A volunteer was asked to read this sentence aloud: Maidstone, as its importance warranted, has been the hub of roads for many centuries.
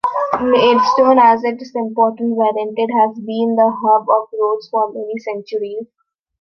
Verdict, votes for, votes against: rejected, 1, 2